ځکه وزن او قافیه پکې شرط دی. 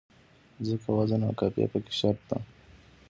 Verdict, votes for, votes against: accepted, 2, 0